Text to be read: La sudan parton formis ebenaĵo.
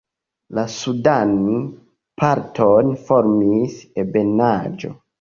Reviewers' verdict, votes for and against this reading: rejected, 0, 2